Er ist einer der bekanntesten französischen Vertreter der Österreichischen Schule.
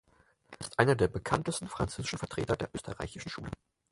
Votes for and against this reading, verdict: 0, 4, rejected